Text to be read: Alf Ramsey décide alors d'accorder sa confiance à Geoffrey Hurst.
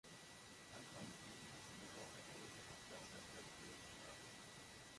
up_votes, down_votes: 0, 2